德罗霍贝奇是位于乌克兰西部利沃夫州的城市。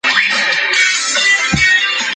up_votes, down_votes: 0, 2